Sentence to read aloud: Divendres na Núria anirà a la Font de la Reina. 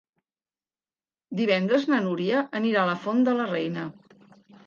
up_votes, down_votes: 3, 0